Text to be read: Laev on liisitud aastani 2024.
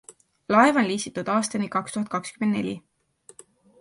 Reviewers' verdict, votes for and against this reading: rejected, 0, 2